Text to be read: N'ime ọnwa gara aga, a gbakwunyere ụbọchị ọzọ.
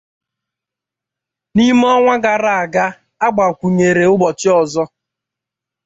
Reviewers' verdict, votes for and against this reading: accepted, 2, 0